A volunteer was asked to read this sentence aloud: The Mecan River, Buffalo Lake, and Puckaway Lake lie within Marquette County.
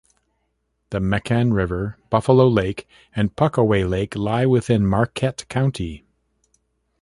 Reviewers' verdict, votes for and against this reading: accepted, 2, 0